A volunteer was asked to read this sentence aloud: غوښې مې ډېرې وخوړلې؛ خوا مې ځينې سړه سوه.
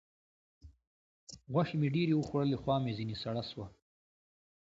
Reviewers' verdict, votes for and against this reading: rejected, 1, 2